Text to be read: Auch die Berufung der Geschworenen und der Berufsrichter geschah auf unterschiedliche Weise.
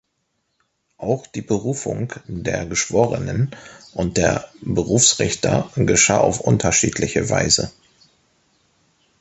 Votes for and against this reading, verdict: 2, 0, accepted